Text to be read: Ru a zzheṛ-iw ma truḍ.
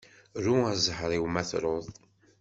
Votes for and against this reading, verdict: 2, 0, accepted